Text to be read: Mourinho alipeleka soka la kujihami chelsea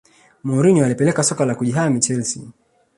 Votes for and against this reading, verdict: 4, 0, accepted